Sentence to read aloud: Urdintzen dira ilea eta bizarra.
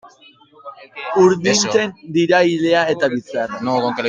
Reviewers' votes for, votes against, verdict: 1, 2, rejected